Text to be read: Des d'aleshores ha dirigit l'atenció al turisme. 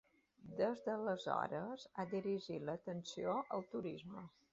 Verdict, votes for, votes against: accepted, 2, 0